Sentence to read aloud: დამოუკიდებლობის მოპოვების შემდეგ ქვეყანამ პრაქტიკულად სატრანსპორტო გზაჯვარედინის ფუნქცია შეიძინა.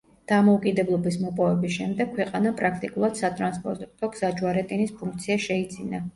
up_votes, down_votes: 0, 2